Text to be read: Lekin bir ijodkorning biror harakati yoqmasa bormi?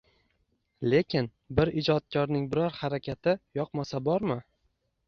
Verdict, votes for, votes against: accepted, 2, 0